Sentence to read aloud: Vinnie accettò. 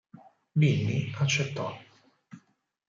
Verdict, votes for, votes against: rejected, 2, 4